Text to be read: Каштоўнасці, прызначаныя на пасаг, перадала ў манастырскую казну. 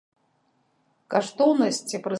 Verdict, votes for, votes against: rejected, 0, 3